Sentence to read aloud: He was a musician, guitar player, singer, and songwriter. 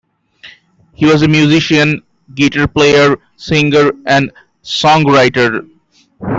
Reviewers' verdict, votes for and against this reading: accepted, 2, 0